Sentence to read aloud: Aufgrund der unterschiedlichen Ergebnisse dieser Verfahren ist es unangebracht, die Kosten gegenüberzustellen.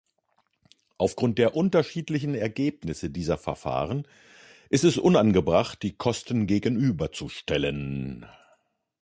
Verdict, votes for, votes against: rejected, 1, 2